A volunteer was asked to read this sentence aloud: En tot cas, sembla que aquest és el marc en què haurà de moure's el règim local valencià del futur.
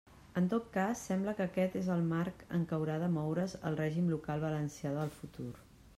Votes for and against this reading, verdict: 0, 2, rejected